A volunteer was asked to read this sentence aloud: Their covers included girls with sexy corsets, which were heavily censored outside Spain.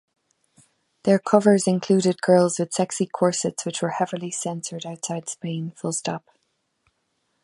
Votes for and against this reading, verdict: 3, 2, accepted